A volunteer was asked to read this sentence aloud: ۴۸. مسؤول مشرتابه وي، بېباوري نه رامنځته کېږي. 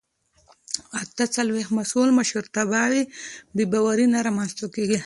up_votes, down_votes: 0, 2